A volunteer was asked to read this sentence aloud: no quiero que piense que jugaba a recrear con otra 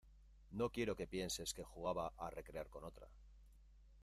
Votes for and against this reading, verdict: 1, 2, rejected